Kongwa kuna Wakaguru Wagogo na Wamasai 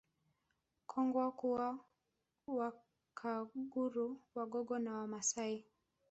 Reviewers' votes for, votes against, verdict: 2, 1, accepted